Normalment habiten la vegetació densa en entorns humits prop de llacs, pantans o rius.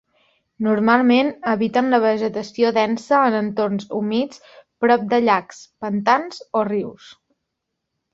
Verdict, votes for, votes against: accepted, 3, 0